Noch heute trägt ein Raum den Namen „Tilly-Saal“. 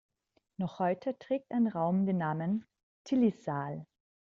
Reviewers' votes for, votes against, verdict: 2, 0, accepted